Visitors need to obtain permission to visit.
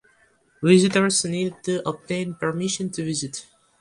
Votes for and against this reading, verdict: 2, 0, accepted